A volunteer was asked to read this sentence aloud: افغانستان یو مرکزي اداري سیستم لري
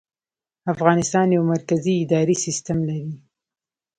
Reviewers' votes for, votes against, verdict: 2, 0, accepted